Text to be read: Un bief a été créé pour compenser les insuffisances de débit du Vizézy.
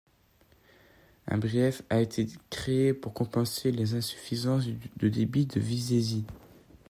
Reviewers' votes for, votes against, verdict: 1, 2, rejected